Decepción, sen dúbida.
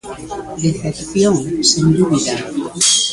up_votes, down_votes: 0, 2